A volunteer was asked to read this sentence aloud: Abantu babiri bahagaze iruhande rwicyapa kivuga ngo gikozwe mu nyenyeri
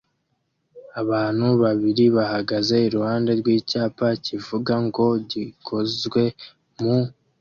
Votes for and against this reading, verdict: 1, 2, rejected